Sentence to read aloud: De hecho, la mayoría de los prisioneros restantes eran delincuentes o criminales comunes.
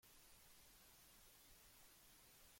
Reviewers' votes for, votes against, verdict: 0, 2, rejected